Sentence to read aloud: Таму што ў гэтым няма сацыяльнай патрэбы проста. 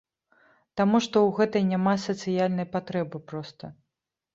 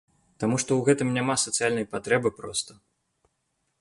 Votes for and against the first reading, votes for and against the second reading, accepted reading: 0, 2, 2, 0, second